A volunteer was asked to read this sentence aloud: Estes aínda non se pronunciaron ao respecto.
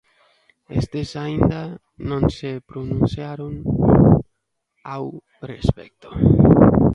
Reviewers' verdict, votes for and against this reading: rejected, 0, 3